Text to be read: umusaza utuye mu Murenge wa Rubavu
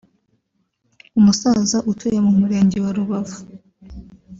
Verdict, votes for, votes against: accepted, 2, 1